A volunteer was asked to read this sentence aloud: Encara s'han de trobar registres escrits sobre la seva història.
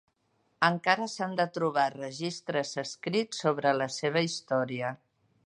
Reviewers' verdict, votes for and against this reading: accepted, 3, 0